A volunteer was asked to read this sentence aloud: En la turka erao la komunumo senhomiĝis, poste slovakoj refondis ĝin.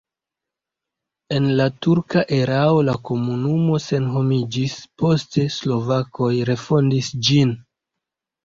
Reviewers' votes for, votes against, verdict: 0, 2, rejected